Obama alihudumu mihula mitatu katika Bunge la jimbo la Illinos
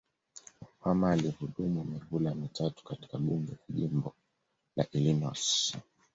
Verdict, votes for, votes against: rejected, 1, 2